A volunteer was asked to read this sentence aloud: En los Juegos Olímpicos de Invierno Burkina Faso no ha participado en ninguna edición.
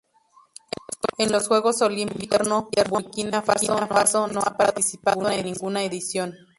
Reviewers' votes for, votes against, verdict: 0, 2, rejected